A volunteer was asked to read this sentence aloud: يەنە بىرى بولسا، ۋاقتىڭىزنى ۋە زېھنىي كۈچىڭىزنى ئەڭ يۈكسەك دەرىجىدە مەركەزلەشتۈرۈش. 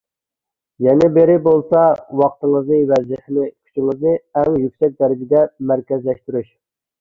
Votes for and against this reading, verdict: 2, 0, accepted